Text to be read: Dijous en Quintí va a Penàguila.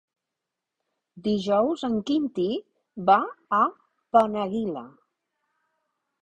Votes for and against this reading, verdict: 0, 3, rejected